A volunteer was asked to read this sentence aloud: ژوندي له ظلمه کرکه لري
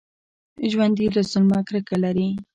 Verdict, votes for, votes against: accepted, 2, 1